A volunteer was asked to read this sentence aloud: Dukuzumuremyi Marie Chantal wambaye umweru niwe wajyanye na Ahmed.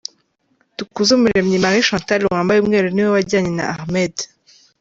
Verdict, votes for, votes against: accepted, 2, 0